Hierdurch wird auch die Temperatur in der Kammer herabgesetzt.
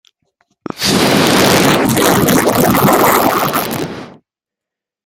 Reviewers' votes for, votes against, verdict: 0, 2, rejected